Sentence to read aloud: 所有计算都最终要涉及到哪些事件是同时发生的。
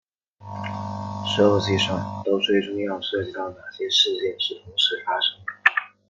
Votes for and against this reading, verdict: 0, 2, rejected